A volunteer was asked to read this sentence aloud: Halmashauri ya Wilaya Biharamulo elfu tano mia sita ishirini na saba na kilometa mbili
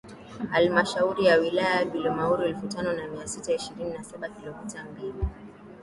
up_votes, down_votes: 0, 2